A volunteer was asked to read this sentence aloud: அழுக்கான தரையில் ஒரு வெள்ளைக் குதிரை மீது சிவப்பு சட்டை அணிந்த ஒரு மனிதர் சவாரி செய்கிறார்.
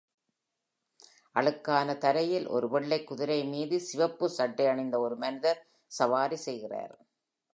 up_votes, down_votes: 2, 0